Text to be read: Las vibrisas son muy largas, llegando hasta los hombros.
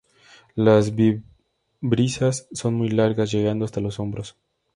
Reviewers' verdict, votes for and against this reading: rejected, 0, 2